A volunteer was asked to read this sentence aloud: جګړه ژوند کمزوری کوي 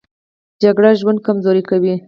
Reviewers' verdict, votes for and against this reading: rejected, 0, 2